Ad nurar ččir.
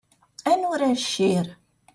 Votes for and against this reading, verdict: 0, 2, rejected